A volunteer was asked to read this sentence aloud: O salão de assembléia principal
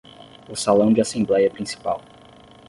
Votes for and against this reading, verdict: 5, 5, rejected